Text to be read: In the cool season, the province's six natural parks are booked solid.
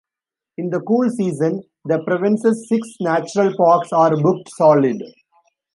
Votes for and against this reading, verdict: 2, 0, accepted